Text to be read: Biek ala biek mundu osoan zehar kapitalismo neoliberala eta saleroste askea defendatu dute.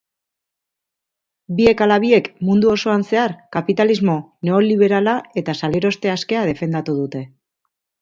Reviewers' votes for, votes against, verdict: 3, 0, accepted